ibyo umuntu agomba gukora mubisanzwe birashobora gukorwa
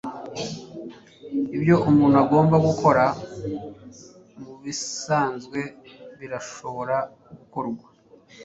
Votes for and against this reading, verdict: 1, 2, rejected